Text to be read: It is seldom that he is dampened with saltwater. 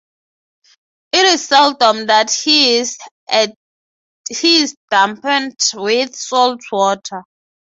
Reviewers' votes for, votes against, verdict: 0, 6, rejected